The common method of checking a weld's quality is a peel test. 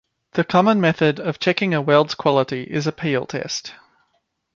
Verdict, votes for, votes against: accepted, 2, 0